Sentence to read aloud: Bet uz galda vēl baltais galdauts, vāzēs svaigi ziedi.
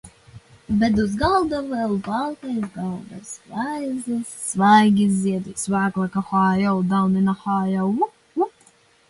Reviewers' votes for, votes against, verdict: 0, 2, rejected